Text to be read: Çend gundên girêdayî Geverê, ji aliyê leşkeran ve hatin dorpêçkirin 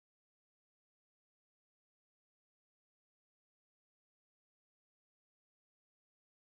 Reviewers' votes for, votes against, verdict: 0, 2, rejected